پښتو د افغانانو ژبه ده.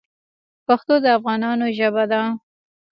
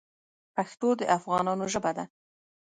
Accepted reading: second